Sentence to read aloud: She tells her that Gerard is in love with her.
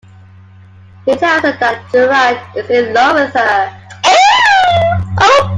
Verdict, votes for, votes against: rejected, 0, 2